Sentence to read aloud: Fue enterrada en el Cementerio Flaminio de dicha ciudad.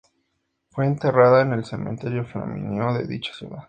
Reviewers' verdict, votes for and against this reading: accepted, 2, 0